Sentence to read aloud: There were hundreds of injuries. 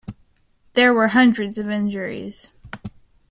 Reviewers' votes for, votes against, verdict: 2, 0, accepted